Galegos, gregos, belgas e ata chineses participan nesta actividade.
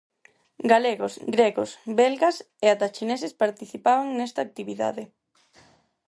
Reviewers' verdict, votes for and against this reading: rejected, 0, 4